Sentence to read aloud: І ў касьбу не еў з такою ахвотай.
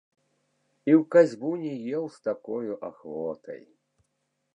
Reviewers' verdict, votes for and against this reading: rejected, 1, 2